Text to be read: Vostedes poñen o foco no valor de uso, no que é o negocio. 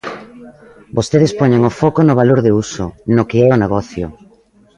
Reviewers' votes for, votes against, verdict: 2, 0, accepted